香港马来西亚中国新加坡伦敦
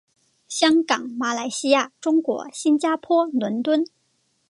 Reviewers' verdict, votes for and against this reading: accepted, 4, 0